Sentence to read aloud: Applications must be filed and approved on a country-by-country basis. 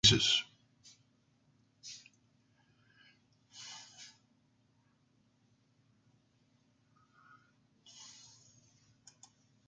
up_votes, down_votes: 0, 2